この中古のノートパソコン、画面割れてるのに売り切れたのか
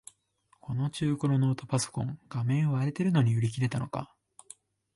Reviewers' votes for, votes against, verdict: 2, 0, accepted